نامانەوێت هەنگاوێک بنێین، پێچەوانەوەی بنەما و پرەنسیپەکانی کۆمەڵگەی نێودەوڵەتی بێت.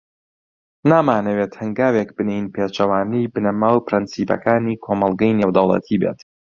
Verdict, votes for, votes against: accepted, 2, 0